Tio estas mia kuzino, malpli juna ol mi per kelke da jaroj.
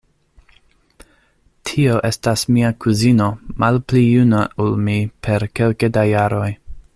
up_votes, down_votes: 2, 0